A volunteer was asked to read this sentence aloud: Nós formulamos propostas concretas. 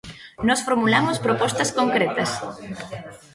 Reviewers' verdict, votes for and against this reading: rejected, 1, 2